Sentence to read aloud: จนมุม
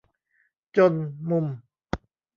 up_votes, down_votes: 1, 2